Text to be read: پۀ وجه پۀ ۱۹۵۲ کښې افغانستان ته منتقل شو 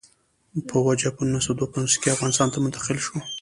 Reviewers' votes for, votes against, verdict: 0, 2, rejected